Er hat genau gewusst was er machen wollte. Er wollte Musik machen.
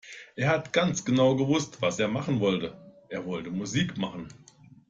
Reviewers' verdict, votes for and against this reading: rejected, 0, 2